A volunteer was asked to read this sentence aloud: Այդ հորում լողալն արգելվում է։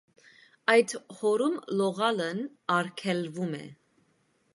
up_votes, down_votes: 1, 2